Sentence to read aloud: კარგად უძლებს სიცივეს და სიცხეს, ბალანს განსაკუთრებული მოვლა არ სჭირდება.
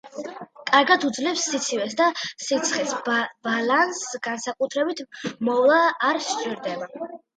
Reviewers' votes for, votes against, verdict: 2, 0, accepted